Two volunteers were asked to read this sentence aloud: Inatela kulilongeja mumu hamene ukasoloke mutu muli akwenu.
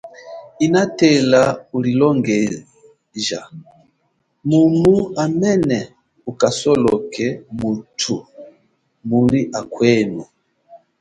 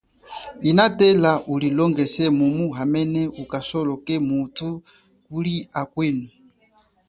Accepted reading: second